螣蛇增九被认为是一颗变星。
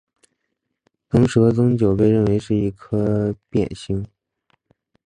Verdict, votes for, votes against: accepted, 2, 0